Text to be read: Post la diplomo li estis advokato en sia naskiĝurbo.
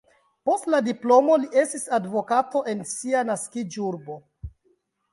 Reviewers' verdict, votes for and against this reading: rejected, 1, 2